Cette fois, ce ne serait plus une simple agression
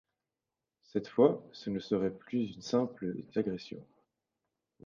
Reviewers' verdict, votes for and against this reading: rejected, 0, 2